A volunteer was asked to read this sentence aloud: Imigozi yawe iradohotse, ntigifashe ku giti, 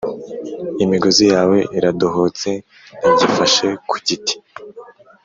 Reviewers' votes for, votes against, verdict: 2, 0, accepted